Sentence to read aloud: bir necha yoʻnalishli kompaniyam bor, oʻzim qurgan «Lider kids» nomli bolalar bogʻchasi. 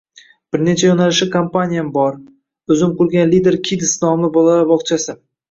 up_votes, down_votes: 1, 2